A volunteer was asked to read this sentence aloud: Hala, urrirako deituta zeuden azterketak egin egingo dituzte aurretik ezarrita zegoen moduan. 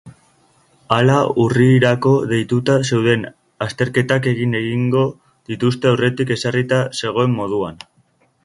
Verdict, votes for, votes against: accepted, 3, 0